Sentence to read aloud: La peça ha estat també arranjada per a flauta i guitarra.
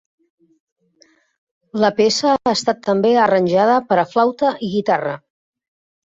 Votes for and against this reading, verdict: 2, 0, accepted